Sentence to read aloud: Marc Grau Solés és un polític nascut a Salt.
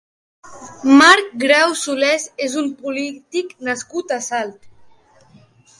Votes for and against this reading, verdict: 4, 0, accepted